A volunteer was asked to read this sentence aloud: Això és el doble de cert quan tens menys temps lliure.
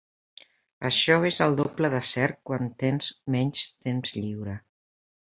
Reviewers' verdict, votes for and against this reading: accepted, 3, 0